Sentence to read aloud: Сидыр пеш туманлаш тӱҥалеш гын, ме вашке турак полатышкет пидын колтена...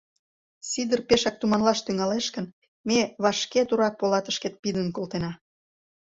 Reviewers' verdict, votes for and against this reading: rejected, 1, 2